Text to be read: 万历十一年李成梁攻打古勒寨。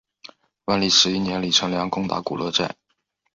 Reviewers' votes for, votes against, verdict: 2, 0, accepted